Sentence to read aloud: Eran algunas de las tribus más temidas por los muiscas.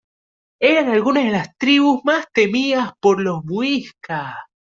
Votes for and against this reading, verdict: 1, 2, rejected